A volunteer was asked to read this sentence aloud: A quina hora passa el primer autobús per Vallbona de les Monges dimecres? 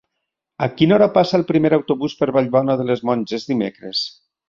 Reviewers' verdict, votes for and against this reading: accepted, 3, 0